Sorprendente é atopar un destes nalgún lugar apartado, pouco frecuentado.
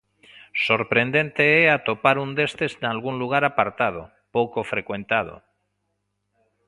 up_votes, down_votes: 2, 0